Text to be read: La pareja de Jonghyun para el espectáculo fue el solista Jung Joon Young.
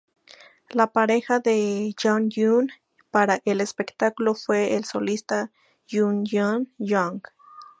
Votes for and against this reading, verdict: 2, 0, accepted